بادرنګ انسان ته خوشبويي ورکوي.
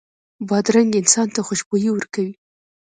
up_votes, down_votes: 2, 0